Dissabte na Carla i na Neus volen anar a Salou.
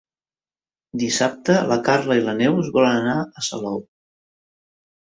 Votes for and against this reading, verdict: 1, 2, rejected